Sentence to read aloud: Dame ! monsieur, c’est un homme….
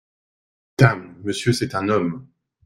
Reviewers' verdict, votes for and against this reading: accepted, 2, 0